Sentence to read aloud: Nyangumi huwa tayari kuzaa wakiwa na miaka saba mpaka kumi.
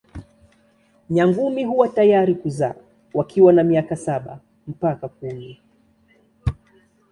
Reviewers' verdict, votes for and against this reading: accepted, 2, 0